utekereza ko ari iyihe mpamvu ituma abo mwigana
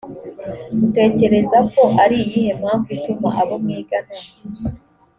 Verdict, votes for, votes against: accepted, 2, 0